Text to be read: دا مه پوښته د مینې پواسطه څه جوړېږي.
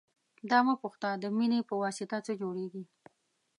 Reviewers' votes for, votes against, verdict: 2, 0, accepted